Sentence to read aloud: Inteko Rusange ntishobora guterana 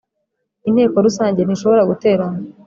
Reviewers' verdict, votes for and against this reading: accepted, 4, 0